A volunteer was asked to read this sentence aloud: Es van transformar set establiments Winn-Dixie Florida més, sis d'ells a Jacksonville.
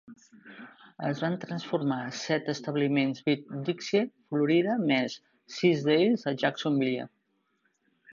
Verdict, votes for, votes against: rejected, 1, 2